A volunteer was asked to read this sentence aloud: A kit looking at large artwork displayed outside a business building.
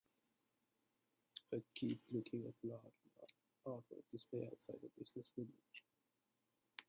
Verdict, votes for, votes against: rejected, 0, 2